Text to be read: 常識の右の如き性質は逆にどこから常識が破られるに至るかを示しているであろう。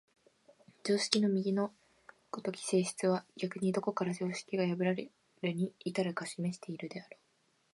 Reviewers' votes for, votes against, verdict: 2, 0, accepted